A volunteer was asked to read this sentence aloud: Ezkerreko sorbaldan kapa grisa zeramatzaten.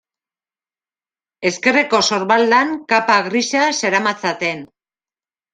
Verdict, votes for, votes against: accepted, 2, 0